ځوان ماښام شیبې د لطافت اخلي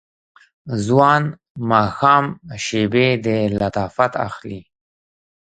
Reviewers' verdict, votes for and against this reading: accepted, 2, 0